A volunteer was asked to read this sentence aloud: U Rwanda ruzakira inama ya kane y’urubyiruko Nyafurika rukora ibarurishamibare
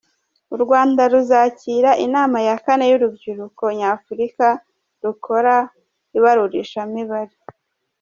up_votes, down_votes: 2, 0